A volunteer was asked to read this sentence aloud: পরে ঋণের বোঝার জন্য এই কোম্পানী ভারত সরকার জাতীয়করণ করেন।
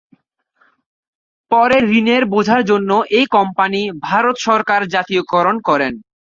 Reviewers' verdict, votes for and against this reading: accepted, 2, 0